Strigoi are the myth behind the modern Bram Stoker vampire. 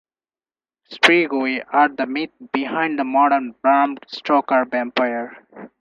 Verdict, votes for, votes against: accepted, 4, 0